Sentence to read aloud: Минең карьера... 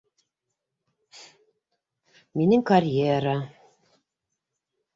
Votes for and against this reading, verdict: 2, 0, accepted